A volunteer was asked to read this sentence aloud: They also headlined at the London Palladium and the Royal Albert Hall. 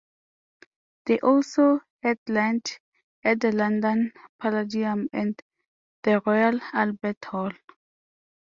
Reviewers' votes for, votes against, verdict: 1, 2, rejected